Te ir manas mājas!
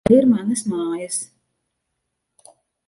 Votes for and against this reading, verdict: 1, 2, rejected